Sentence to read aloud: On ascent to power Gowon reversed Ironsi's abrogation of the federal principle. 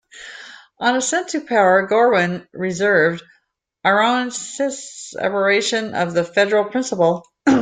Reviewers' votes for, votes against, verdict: 0, 2, rejected